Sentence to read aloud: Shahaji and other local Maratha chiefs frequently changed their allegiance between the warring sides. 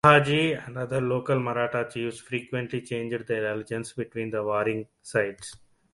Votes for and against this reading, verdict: 1, 2, rejected